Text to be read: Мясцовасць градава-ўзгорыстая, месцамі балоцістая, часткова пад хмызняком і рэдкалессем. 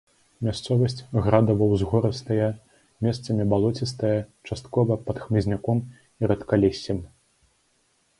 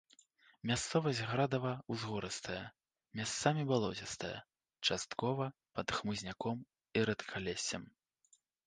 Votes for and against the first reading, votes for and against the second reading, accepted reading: 2, 0, 1, 2, first